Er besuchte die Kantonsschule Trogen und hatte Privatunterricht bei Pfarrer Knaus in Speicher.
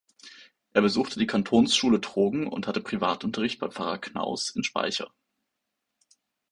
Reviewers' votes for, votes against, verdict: 2, 0, accepted